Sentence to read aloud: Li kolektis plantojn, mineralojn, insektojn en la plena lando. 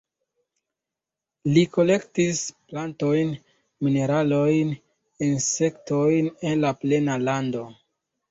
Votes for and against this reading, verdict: 2, 1, accepted